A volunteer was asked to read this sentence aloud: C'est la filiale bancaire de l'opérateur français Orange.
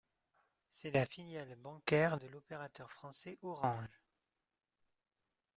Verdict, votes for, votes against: rejected, 1, 2